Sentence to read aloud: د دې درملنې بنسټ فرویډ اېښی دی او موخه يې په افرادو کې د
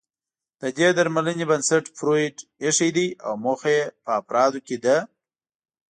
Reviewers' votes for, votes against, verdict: 2, 0, accepted